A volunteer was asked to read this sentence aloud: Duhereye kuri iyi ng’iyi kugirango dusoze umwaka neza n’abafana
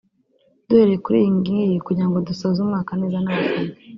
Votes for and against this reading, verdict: 2, 0, accepted